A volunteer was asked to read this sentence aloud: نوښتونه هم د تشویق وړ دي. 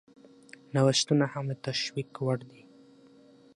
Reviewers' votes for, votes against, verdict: 6, 0, accepted